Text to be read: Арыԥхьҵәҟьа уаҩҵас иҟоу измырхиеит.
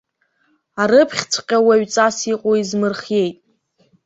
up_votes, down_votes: 3, 0